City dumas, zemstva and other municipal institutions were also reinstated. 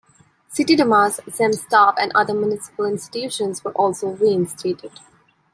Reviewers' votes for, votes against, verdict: 1, 2, rejected